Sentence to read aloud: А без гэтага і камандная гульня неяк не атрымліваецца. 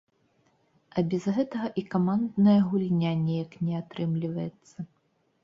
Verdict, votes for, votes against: accepted, 2, 0